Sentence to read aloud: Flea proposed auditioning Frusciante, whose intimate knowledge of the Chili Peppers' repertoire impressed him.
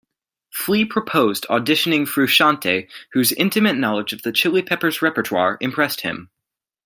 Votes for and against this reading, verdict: 2, 0, accepted